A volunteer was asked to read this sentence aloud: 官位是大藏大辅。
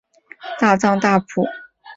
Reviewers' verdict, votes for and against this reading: rejected, 1, 2